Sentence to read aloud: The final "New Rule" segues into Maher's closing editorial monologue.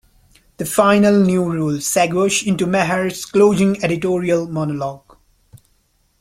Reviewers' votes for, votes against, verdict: 1, 2, rejected